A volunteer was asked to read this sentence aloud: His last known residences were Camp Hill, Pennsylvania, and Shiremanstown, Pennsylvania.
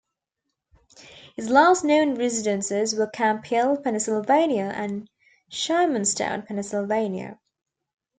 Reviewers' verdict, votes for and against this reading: rejected, 0, 2